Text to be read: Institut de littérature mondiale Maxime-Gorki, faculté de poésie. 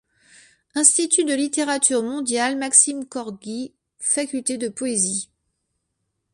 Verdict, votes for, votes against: rejected, 1, 3